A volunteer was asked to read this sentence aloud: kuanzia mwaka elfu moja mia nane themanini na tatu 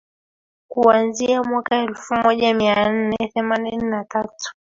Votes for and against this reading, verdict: 0, 3, rejected